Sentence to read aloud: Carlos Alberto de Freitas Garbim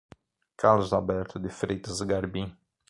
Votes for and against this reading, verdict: 9, 0, accepted